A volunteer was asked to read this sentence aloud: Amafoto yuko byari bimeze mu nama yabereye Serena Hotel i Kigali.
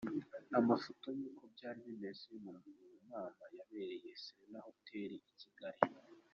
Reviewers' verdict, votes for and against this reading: accepted, 2, 0